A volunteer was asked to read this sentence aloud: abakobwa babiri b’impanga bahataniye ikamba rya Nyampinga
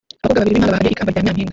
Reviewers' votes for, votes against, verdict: 1, 2, rejected